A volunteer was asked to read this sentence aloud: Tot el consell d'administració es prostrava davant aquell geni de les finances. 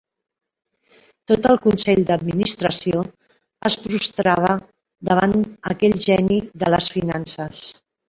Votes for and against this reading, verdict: 2, 0, accepted